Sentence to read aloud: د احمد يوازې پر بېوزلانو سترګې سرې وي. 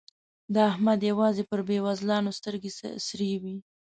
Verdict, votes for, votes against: accepted, 4, 0